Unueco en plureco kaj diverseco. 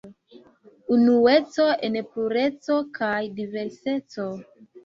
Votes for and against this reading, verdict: 3, 1, accepted